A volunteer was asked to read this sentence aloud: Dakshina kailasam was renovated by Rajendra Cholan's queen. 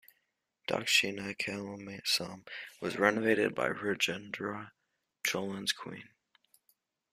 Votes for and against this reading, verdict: 0, 2, rejected